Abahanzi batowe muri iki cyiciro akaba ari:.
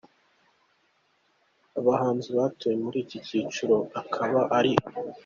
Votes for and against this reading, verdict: 2, 1, accepted